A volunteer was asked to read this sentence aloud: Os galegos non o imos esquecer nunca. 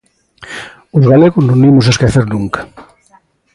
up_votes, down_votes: 2, 0